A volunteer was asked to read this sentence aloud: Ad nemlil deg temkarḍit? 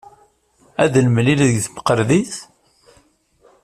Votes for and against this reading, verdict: 1, 2, rejected